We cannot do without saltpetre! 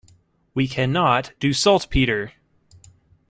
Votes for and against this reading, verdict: 0, 2, rejected